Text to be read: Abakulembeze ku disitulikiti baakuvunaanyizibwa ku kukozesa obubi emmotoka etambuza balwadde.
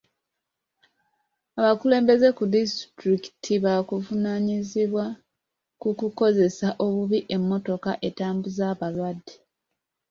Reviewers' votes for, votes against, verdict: 0, 2, rejected